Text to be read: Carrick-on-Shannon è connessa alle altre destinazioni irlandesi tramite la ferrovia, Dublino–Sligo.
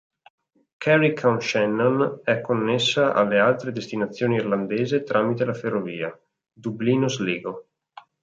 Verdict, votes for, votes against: rejected, 0, 2